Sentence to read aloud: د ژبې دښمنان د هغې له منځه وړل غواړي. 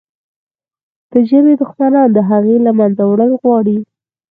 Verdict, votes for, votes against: rejected, 2, 4